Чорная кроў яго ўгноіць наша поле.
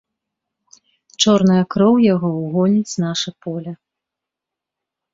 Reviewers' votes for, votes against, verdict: 0, 3, rejected